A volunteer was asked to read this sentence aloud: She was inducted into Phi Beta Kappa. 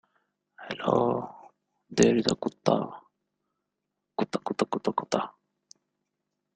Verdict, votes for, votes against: rejected, 0, 2